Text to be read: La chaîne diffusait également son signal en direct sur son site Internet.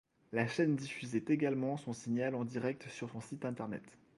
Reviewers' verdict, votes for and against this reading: accepted, 2, 0